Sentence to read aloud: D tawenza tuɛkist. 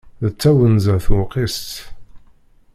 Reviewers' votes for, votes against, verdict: 0, 2, rejected